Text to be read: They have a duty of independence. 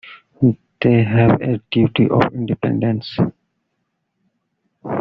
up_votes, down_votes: 2, 0